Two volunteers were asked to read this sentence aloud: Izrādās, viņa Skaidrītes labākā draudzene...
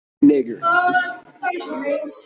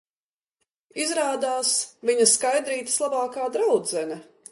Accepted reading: second